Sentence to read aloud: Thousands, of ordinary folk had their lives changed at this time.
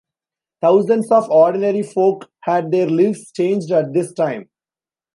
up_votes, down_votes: 1, 2